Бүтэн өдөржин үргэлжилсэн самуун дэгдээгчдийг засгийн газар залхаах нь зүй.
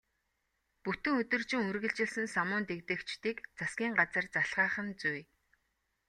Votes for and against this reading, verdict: 2, 0, accepted